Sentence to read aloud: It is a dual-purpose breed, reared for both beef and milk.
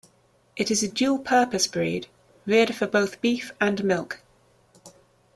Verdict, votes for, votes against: accepted, 2, 0